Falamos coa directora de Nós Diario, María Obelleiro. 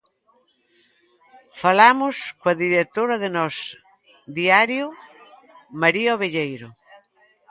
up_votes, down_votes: 1, 2